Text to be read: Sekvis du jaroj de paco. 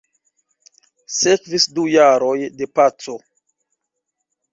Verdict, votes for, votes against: rejected, 0, 2